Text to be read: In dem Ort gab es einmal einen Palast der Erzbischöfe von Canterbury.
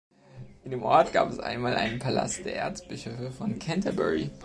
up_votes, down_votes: 2, 0